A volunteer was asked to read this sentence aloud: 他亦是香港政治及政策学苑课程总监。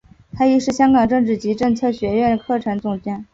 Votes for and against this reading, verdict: 2, 0, accepted